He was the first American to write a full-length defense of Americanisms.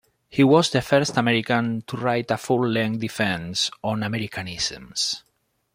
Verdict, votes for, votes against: rejected, 0, 2